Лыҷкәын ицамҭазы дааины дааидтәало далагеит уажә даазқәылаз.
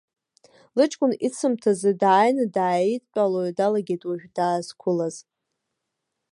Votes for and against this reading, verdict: 1, 2, rejected